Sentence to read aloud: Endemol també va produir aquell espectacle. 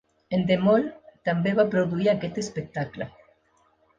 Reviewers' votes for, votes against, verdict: 0, 2, rejected